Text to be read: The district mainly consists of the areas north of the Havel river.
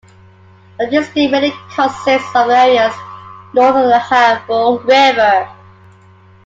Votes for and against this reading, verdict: 2, 1, accepted